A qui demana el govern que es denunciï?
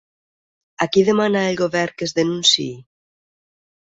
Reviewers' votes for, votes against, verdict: 6, 0, accepted